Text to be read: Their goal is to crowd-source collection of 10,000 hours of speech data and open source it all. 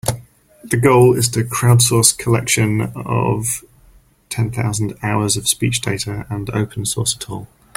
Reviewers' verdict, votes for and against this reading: rejected, 0, 2